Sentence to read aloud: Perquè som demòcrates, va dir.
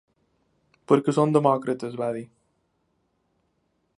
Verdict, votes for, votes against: accepted, 2, 0